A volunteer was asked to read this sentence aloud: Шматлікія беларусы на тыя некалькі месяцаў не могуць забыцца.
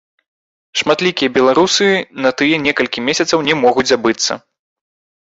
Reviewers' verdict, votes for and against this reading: rejected, 1, 2